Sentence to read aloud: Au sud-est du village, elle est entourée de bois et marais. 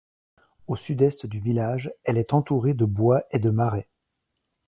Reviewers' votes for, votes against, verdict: 0, 2, rejected